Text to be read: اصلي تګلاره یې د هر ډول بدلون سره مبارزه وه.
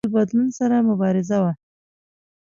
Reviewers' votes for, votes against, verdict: 0, 2, rejected